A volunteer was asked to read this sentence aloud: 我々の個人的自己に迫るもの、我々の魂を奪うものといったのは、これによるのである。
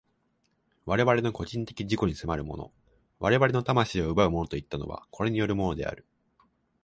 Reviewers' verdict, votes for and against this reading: accepted, 2, 1